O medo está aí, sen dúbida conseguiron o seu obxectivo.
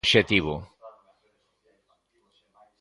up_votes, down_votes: 0, 2